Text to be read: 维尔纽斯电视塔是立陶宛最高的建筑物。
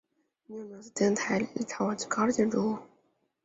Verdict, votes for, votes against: rejected, 0, 2